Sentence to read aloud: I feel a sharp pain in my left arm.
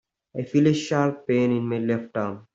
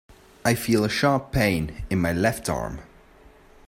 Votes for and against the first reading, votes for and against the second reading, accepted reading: 1, 2, 2, 0, second